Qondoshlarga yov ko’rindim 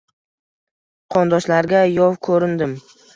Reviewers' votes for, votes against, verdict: 1, 2, rejected